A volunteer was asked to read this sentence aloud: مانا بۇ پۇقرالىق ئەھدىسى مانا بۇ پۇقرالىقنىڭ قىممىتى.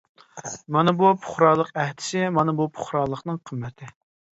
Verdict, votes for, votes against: accepted, 3, 0